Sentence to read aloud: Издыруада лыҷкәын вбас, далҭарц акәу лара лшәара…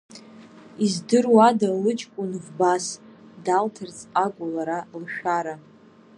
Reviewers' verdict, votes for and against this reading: rejected, 1, 2